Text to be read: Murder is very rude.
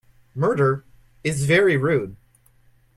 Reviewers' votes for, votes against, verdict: 2, 0, accepted